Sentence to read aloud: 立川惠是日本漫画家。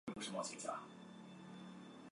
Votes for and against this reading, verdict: 0, 2, rejected